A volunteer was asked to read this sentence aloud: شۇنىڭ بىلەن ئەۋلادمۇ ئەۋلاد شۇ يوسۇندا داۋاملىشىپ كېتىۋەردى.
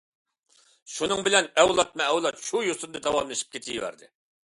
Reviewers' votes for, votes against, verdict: 2, 0, accepted